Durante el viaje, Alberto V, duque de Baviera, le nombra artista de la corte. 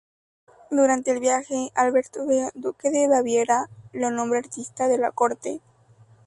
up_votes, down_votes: 0, 4